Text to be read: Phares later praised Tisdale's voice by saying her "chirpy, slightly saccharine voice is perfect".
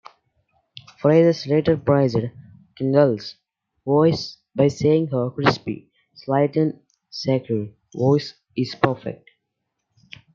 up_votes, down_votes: 1, 2